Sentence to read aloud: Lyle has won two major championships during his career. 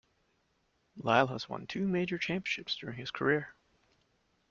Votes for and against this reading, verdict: 2, 0, accepted